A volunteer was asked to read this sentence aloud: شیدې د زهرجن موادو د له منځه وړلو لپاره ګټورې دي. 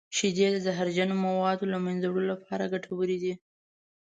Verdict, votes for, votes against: accepted, 2, 0